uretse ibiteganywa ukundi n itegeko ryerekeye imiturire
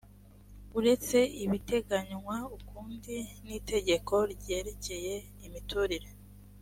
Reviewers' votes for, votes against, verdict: 2, 0, accepted